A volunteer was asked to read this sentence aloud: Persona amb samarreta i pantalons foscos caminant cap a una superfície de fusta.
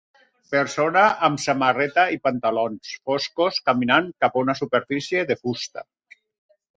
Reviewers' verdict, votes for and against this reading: accepted, 4, 0